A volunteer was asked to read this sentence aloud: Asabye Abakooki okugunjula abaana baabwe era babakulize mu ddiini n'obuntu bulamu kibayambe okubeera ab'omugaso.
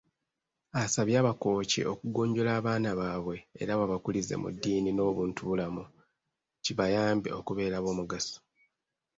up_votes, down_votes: 2, 0